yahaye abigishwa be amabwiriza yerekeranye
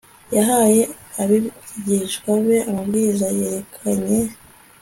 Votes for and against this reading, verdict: 2, 0, accepted